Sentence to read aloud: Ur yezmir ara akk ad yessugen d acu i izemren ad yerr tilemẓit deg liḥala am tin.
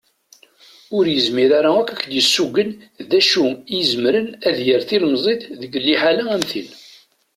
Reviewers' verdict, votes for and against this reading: accepted, 2, 0